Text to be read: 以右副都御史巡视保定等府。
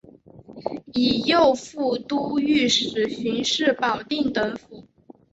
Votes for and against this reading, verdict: 2, 0, accepted